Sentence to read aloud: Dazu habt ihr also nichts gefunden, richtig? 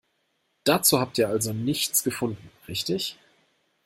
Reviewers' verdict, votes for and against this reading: accepted, 2, 0